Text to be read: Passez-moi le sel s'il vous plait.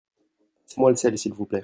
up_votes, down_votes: 1, 2